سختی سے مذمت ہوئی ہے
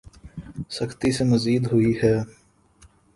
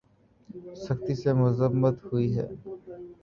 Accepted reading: second